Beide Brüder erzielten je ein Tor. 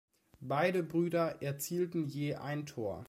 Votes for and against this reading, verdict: 2, 0, accepted